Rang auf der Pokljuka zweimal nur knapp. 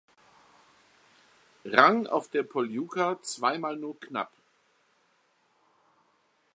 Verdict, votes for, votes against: rejected, 0, 2